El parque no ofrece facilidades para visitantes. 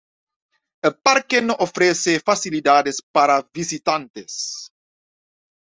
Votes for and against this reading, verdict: 1, 2, rejected